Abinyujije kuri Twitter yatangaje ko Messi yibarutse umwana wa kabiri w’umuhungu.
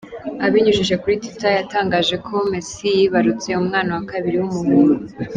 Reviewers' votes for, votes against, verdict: 2, 0, accepted